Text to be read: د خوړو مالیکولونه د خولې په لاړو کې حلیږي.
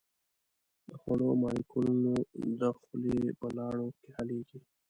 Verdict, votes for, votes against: rejected, 0, 2